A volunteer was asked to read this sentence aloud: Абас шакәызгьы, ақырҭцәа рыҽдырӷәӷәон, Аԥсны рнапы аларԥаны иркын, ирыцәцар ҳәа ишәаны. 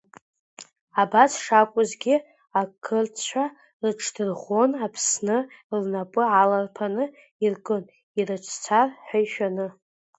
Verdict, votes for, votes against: rejected, 0, 3